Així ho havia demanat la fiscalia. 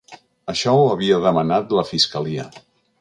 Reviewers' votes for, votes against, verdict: 0, 2, rejected